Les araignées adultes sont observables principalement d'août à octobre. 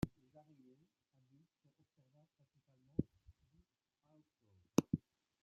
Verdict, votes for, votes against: rejected, 0, 2